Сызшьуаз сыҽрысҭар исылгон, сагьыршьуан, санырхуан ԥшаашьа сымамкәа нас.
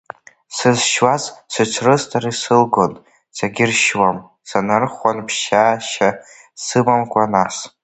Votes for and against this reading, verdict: 1, 2, rejected